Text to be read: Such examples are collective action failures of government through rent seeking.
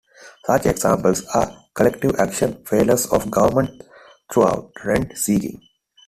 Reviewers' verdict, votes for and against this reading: rejected, 0, 2